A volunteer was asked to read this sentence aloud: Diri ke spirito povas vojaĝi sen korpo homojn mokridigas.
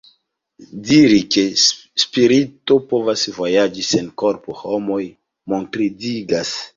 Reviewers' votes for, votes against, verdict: 1, 2, rejected